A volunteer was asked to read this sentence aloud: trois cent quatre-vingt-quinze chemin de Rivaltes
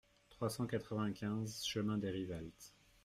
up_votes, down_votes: 0, 2